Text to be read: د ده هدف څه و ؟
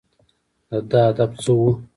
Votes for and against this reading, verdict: 2, 0, accepted